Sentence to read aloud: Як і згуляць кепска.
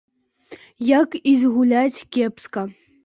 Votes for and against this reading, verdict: 2, 0, accepted